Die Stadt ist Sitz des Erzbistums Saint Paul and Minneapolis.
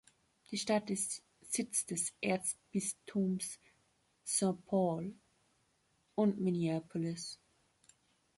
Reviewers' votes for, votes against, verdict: 0, 2, rejected